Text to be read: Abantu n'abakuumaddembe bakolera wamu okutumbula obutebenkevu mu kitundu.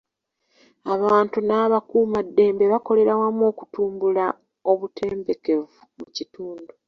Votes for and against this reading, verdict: 0, 2, rejected